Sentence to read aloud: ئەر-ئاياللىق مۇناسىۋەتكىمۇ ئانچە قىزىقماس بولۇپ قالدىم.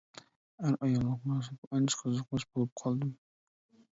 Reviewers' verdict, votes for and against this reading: rejected, 0, 2